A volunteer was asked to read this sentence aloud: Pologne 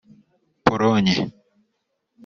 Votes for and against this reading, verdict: 1, 2, rejected